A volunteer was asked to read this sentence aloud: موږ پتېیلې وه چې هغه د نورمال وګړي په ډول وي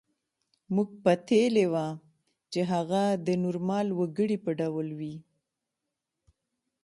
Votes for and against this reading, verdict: 2, 0, accepted